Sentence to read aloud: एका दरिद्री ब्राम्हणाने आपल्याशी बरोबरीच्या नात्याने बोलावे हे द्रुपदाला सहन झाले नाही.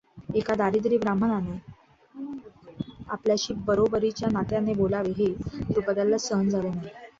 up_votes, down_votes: 1, 2